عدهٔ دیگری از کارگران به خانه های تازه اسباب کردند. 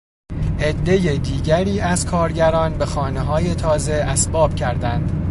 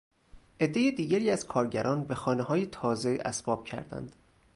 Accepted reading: first